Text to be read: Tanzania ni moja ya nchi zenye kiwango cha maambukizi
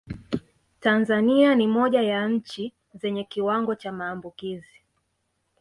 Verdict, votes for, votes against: accepted, 2, 0